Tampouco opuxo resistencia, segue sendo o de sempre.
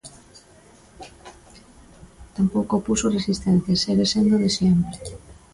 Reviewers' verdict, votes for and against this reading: rejected, 0, 2